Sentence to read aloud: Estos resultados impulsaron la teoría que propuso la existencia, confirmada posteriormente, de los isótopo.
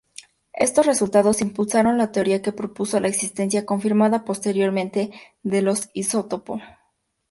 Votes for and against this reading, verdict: 2, 0, accepted